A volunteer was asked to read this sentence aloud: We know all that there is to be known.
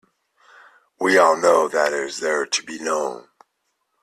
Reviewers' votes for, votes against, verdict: 1, 2, rejected